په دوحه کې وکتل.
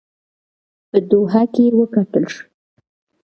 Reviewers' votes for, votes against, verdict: 0, 2, rejected